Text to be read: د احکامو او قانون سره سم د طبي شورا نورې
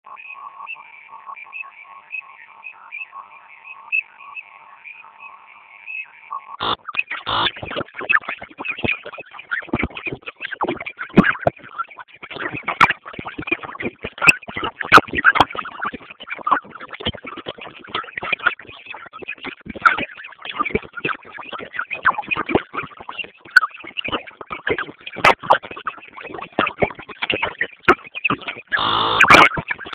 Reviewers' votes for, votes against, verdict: 0, 2, rejected